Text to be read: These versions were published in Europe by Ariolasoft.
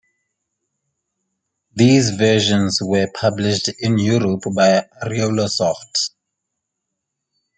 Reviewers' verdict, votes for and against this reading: accepted, 2, 0